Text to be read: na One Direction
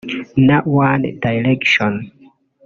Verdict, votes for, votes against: rejected, 0, 2